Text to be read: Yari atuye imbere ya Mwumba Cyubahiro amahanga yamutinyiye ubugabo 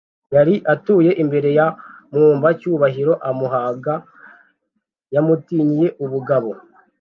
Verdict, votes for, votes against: rejected, 1, 2